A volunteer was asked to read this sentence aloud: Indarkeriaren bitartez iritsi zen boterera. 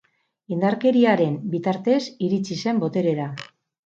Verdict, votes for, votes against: rejected, 2, 2